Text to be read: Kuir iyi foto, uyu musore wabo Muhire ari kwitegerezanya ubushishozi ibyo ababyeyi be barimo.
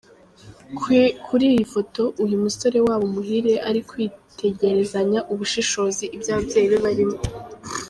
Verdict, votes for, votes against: rejected, 1, 2